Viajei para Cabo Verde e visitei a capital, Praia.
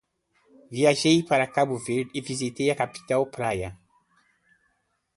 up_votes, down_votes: 2, 0